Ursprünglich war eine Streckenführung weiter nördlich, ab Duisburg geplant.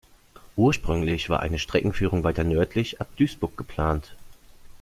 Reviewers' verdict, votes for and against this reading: accepted, 2, 0